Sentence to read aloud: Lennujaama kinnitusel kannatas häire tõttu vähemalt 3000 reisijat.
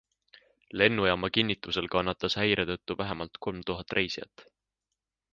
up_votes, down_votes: 0, 2